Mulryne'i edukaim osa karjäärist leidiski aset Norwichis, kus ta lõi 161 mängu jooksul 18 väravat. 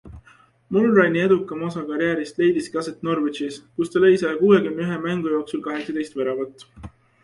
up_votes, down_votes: 0, 2